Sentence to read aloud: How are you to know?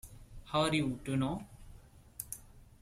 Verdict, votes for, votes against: accepted, 2, 1